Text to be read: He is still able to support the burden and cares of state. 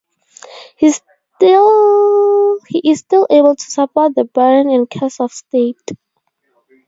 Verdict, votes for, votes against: rejected, 0, 2